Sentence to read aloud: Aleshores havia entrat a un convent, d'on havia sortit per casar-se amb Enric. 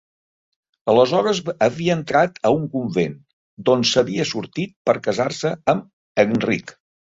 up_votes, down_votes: 0, 2